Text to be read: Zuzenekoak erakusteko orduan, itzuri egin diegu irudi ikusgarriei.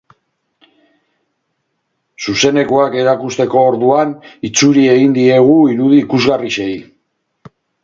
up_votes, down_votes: 2, 2